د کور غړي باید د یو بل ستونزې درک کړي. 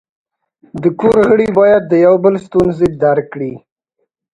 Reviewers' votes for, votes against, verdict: 2, 3, rejected